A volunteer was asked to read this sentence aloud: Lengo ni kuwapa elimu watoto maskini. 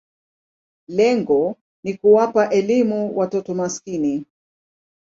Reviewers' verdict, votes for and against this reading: accepted, 2, 0